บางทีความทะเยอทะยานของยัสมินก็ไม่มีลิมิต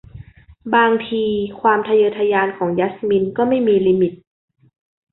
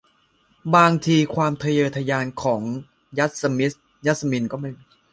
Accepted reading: first